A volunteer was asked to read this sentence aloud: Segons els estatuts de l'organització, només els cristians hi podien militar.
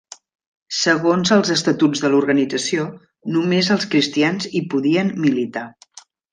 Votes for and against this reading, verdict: 3, 0, accepted